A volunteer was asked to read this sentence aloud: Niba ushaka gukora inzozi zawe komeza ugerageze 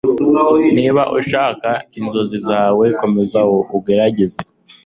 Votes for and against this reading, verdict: 2, 0, accepted